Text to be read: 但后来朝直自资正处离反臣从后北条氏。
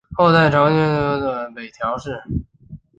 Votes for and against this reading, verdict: 0, 2, rejected